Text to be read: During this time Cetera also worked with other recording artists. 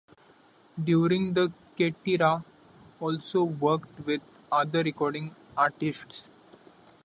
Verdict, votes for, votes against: rejected, 0, 2